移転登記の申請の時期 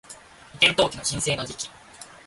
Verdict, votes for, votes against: rejected, 0, 2